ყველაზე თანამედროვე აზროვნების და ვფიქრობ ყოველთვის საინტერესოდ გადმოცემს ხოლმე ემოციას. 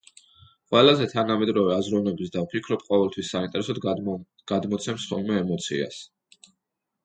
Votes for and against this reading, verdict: 1, 2, rejected